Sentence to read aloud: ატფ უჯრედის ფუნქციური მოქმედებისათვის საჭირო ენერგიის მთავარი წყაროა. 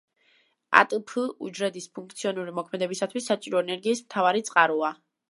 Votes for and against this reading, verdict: 0, 2, rejected